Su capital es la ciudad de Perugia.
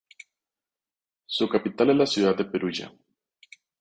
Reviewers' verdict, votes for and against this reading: rejected, 0, 2